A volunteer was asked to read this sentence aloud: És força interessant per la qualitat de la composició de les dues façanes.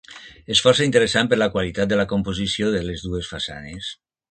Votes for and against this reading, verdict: 2, 0, accepted